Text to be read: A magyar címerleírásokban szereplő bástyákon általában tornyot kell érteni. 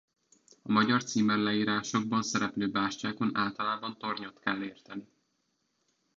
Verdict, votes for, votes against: rejected, 1, 2